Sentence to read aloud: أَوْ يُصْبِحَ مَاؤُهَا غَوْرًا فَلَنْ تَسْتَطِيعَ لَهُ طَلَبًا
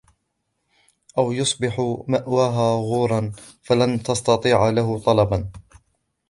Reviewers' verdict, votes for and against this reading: rejected, 0, 2